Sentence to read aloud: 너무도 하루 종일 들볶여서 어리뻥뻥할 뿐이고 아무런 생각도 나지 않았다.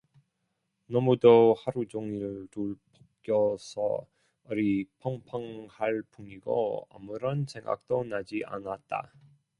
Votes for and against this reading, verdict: 0, 2, rejected